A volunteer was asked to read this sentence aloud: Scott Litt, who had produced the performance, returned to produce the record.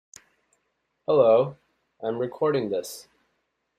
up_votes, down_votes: 0, 2